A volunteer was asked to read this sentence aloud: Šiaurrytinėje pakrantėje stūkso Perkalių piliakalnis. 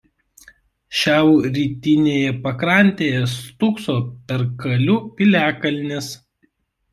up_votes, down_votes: 2, 1